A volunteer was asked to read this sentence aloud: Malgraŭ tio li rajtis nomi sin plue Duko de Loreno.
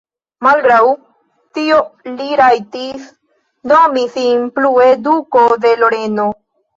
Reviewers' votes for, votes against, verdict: 2, 1, accepted